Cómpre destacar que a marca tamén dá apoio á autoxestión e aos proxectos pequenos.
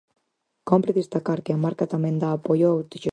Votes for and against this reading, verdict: 0, 4, rejected